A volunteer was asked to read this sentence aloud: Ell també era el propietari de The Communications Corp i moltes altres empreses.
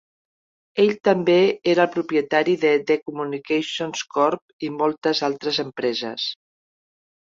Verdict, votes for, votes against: rejected, 1, 2